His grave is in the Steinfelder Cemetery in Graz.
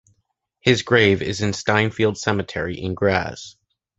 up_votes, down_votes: 0, 2